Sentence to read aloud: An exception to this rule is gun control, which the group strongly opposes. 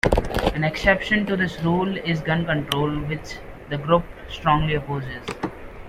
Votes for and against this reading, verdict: 2, 1, accepted